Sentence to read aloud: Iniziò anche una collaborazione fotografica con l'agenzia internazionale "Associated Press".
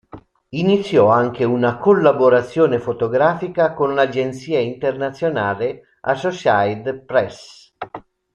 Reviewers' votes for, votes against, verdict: 1, 2, rejected